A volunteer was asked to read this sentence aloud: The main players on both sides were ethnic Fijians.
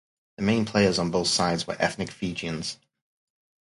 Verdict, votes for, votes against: rejected, 2, 2